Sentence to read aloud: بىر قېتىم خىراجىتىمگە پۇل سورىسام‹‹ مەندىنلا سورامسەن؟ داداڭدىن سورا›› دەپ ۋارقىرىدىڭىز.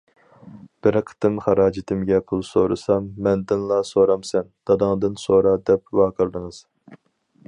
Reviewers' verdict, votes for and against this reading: rejected, 2, 4